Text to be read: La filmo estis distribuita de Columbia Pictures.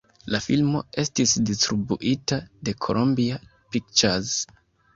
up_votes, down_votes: 1, 2